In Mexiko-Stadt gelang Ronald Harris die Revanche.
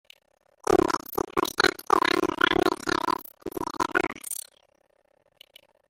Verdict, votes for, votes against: rejected, 0, 2